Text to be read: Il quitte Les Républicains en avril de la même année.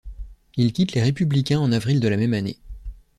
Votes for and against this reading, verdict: 2, 0, accepted